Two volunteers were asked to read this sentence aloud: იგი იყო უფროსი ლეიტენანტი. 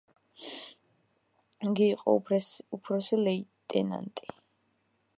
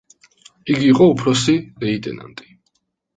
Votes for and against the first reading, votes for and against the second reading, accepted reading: 0, 2, 2, 0, second